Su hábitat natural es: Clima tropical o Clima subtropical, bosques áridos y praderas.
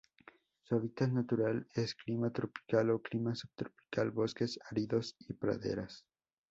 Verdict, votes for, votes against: accepted, 2, 0